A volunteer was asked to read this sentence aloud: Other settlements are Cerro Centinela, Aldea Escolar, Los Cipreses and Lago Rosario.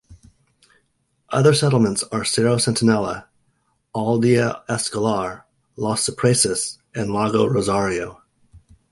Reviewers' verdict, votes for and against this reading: accepted, 2, 0